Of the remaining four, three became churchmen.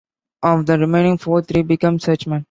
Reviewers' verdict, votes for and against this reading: rejected, 1, 2